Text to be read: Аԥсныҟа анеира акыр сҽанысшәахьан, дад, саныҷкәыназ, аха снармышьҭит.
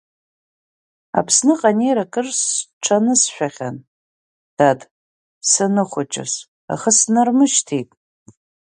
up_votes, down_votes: 4, 6